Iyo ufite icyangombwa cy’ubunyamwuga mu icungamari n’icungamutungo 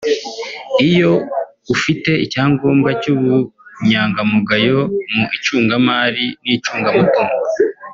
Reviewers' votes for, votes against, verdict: 0, 2, rejected